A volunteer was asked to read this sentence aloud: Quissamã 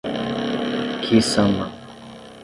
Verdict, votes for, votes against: rejected, 0, 3